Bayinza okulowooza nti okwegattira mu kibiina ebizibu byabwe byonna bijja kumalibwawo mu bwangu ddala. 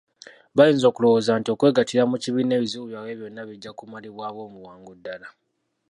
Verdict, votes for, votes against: accepted, 2, 1